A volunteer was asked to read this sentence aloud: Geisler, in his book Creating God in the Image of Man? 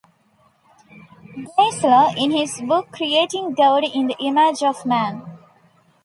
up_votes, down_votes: 1, 2